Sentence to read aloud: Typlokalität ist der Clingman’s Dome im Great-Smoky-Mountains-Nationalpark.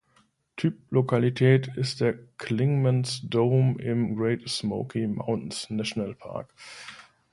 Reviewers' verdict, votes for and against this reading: accepted, 2, 1